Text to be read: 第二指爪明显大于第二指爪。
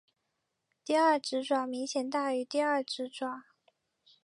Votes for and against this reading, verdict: 3, 0, accepted